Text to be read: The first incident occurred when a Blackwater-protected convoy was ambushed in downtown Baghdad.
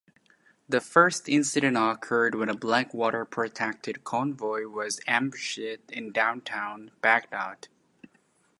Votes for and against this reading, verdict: 1, 2, rejected